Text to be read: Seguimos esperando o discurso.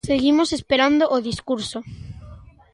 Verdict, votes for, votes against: accepted, 2, 0